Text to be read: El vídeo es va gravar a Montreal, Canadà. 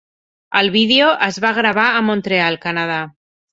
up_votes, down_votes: 3, 0